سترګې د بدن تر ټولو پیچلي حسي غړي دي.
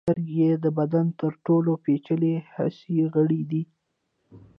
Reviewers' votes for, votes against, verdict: 2, 0, accepted